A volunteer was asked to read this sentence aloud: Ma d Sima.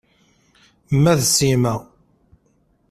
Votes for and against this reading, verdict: 2, 0, accepted